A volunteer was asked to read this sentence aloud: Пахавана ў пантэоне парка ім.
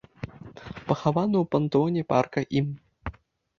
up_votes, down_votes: 2, 0